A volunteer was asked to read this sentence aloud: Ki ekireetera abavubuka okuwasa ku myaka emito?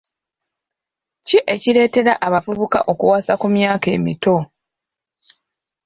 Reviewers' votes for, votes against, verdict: 3, 0, accepted